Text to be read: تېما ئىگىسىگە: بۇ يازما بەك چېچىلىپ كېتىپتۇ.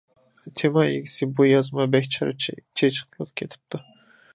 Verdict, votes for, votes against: rejected, 0, 2